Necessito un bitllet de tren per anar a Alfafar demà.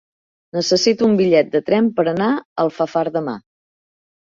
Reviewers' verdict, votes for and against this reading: rejected, 1, 2